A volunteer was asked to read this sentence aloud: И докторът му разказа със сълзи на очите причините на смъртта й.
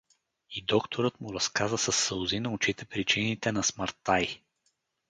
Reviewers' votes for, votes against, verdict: 2, 2, rejected